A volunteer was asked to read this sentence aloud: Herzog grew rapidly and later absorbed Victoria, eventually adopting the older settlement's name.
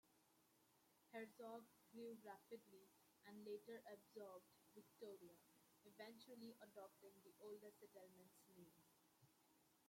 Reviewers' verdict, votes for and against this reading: rejected, 0, 2